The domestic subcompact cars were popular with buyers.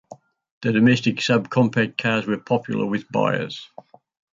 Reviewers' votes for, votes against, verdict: 0, 2, rejected